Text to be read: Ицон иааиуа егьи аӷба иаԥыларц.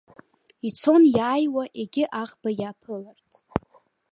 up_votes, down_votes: 1, 2